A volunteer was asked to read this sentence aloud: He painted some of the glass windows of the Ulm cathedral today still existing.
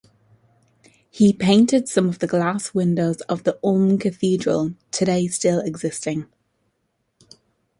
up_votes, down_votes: 2, 0